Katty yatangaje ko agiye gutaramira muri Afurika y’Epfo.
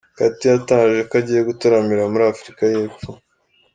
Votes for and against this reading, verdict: 2, 1, accepted